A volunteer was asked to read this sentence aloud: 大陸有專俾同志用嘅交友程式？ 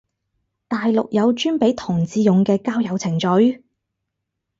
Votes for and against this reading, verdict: 2, 2, rejected